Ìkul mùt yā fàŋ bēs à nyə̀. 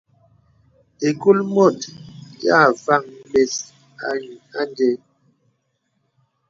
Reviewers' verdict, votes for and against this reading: accepted, 2, 0